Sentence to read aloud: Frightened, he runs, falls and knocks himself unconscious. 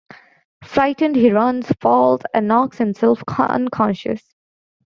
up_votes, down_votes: 1, 2